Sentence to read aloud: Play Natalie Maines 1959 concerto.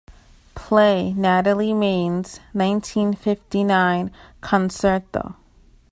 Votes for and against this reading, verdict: 0, 2, rejected